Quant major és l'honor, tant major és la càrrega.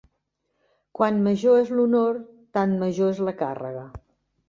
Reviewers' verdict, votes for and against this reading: accepted, 2, 0